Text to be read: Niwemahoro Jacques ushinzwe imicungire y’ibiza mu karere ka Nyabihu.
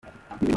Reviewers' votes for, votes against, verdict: 0, 2, rejected